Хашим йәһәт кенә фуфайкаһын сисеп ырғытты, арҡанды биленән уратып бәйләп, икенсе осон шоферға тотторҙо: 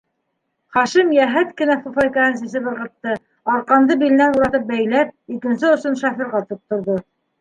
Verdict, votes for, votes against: accepted, 2, 0